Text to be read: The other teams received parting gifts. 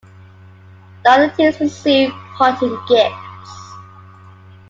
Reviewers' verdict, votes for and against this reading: accepted, 2, 0